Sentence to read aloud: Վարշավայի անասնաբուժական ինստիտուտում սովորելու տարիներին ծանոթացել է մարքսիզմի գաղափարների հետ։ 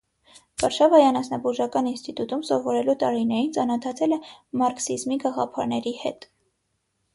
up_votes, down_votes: 6, 0